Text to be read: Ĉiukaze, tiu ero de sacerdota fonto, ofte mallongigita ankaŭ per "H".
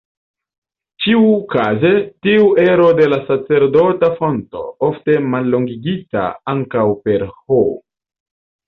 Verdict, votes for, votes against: rejected, 1, 2